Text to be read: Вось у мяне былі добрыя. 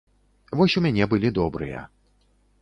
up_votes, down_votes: 2, 0